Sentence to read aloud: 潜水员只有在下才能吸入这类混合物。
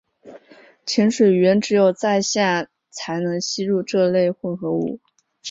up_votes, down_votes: 3, 1